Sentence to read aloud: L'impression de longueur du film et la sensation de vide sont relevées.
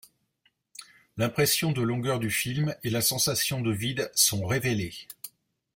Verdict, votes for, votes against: rejected, 1, 2